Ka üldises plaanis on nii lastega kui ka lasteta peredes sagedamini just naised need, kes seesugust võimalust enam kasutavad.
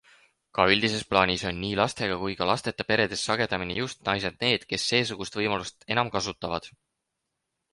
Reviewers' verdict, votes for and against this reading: accepted, 4, 0